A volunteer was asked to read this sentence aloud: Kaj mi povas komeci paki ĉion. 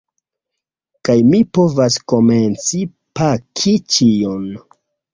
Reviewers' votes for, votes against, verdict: 0, 2, rejected